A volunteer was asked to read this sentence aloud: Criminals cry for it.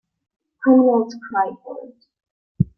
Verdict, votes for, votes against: accepted, 2, 1